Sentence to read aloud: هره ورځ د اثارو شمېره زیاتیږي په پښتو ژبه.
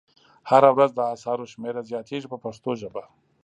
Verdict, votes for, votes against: accepted, 2, 0